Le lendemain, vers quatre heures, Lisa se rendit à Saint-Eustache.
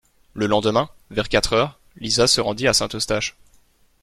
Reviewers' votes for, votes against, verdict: 2, 0, accepted